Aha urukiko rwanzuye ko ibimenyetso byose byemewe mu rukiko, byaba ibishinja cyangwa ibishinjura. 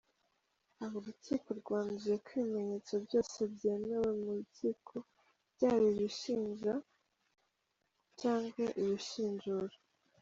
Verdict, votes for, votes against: accepted, 2, 1